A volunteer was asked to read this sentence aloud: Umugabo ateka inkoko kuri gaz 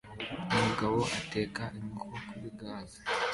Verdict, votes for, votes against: accepted, 2, 0